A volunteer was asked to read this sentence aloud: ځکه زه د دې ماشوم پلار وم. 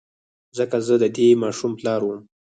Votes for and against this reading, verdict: 0, 4, rejected